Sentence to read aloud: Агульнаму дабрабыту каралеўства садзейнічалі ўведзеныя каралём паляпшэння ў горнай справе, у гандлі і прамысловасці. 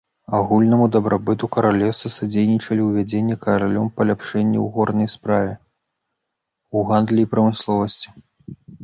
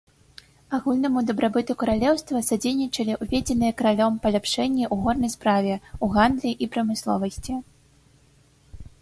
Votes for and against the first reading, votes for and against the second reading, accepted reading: 0, 2, 2, 0, second